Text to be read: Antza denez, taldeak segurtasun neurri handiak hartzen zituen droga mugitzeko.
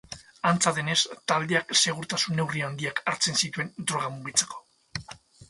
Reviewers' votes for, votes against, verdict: 4, 0, accepted